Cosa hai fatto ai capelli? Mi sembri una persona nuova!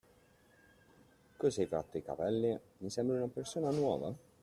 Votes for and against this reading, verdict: 2, 0, accepted